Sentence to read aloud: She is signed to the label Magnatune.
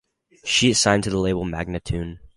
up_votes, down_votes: 4, 0